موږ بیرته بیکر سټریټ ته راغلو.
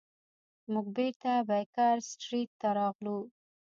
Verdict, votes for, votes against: rejected, 0, 2